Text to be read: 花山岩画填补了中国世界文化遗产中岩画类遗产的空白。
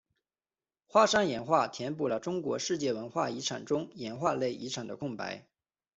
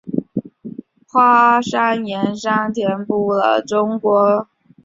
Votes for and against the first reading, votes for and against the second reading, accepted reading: 2, 0, 0, 2, first